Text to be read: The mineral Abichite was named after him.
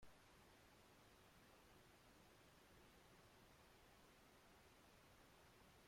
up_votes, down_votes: 0, 2